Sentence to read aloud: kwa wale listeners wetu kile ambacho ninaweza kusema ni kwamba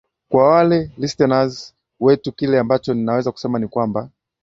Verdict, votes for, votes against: accepted, 8, 0